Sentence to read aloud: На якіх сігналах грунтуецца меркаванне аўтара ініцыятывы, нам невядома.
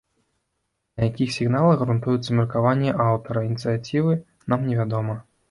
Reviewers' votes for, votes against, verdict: 0, 2, rejected